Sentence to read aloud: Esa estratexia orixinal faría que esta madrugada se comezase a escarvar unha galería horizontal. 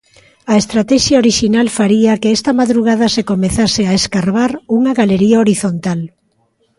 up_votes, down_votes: 0, 2